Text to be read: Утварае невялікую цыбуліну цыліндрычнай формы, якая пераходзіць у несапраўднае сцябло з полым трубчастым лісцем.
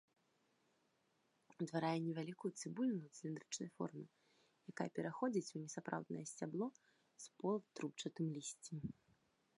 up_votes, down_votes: 0, 2